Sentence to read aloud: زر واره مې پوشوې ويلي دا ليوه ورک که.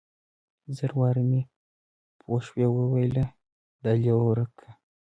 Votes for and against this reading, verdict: 2, 0, accepted